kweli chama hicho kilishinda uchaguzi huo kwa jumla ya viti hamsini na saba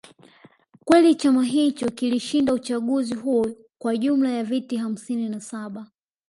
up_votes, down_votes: 2, 0